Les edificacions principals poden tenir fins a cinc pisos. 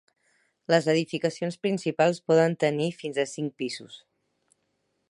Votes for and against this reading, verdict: 6, 0, accepted